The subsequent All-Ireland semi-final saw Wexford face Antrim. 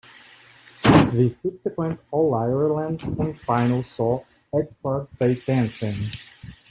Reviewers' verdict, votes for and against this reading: rejected, 1, 2